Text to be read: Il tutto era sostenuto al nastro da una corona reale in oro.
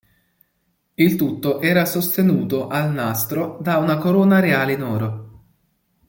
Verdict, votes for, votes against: accepted, 2, 0